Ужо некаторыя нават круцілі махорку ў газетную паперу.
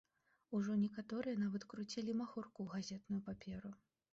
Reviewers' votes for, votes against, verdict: 1, 2, rejected